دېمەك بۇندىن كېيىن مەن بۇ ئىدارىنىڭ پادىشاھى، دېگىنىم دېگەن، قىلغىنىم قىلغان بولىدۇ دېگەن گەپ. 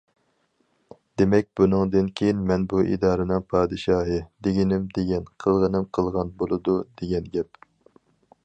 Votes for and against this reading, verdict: 0, 2, rejected